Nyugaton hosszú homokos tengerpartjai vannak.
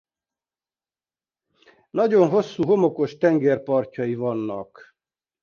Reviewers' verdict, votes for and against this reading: rejected, 0, 2